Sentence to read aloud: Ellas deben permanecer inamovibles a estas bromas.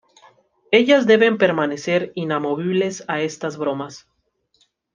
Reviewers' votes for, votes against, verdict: 2, 0, accepted